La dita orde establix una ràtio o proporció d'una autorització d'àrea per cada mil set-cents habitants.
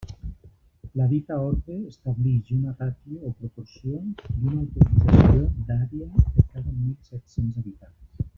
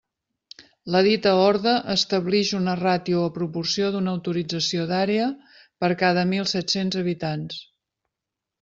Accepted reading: second